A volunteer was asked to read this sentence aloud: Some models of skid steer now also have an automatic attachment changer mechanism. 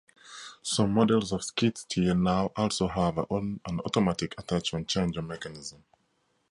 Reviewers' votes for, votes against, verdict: 0, 2, rejected